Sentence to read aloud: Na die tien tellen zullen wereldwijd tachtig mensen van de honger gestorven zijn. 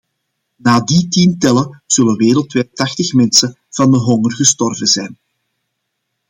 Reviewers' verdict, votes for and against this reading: accepted, 2, 0